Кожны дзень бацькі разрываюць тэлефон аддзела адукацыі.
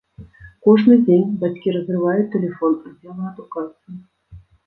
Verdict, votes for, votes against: rejected, 1, 2